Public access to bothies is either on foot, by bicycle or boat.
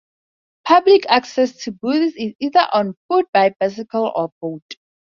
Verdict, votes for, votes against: rejected, 0, 2